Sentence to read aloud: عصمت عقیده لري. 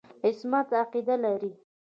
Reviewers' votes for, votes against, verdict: 2, 1, accepted